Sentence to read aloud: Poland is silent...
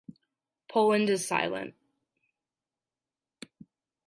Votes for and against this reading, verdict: 2, 0, accepted